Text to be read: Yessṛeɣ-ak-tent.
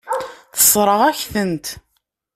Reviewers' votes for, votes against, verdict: 0, 2, rejected